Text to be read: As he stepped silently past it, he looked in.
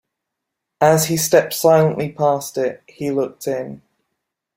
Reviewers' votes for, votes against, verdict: 2, 1, accepted